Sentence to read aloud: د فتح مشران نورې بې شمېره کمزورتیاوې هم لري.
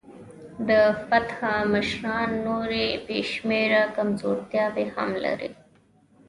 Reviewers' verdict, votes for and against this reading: accepted, 2, 0